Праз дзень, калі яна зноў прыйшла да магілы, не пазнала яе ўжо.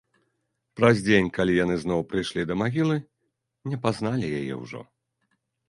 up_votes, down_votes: 0, 2